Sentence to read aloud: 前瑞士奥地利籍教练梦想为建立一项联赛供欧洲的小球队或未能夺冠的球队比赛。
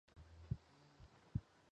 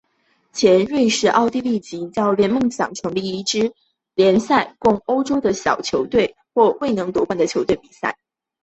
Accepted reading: second